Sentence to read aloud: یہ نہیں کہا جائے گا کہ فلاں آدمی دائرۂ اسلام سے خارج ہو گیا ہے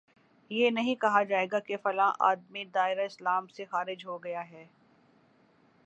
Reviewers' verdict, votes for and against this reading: accepted, 11, 2